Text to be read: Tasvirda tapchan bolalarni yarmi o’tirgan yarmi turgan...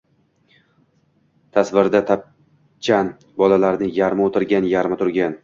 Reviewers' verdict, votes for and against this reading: rejected, 1, 2